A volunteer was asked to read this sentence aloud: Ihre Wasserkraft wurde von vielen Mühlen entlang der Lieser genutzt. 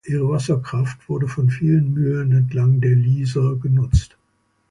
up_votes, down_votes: 2, 0